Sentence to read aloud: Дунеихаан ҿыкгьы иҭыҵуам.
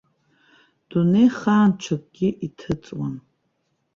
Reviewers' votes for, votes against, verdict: 1, 2, rejected